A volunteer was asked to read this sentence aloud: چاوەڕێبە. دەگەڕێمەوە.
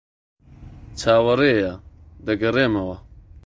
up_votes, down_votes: 0, 2